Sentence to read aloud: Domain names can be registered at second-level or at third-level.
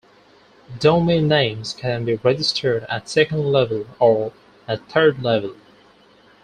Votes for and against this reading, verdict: 4, 0, accepted